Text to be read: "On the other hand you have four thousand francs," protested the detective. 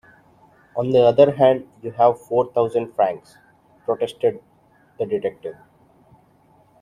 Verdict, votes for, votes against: accepted, 2, 0